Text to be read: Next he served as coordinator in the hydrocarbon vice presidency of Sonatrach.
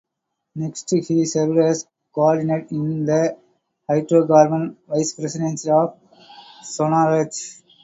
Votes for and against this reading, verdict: 0, 4, rejected